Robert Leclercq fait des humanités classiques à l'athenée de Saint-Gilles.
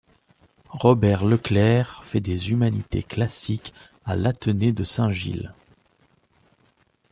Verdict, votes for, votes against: accepted, 2, 0